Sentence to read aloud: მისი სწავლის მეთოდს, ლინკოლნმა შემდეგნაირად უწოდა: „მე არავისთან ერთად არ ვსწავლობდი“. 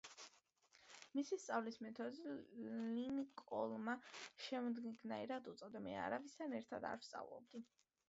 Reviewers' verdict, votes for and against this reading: accepted, 3, 0